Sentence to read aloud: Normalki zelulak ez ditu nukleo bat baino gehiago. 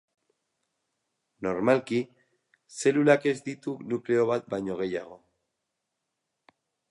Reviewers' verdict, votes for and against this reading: accepted, 10, 0